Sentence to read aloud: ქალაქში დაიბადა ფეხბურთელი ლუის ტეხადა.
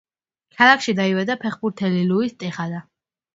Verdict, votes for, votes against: accepted, 2, 0